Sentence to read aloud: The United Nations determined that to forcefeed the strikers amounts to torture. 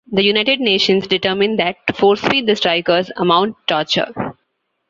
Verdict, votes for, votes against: rejected, 0, 2